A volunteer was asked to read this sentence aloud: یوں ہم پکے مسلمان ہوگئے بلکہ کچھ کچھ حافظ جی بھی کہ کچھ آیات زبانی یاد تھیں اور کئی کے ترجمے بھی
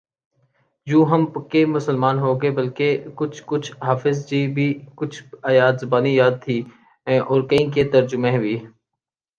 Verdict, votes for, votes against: accepted, 2, 0